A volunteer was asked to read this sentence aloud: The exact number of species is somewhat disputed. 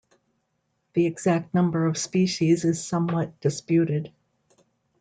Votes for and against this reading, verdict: 2, 1, accepted